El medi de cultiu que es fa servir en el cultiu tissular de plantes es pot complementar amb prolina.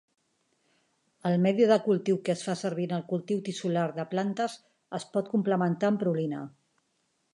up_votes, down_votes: 4, 0